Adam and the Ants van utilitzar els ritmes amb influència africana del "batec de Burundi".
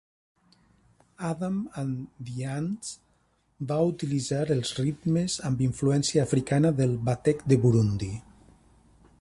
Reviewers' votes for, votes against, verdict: 0, 2, rejected